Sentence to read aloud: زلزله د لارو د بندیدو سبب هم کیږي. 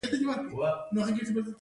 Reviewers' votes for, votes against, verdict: 2, 0, accepted